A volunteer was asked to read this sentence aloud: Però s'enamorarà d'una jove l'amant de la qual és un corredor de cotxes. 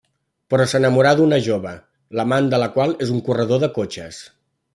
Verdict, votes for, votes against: accepted, 2, 0